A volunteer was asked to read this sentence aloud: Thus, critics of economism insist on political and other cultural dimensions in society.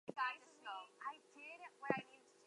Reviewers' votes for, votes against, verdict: 0, 2, rejected